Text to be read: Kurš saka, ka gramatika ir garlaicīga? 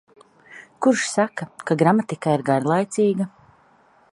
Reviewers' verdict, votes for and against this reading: accepted, 2, 0